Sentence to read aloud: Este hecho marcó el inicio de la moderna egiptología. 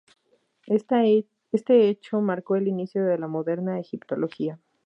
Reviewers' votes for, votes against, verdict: 0, 4, rejected